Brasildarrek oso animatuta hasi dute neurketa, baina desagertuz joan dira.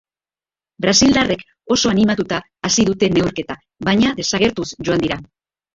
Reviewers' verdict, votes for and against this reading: rejected, 0, 2